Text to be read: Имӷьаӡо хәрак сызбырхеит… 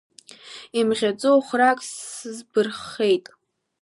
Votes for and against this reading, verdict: 0, 2, rejected